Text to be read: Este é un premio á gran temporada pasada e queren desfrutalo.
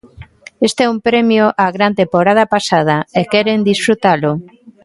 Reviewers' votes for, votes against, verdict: 0, 2, rejected